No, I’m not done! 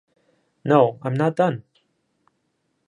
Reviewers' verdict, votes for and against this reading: rejected, 0, 2